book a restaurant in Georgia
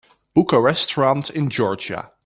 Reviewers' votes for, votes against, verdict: 2, 0, accepted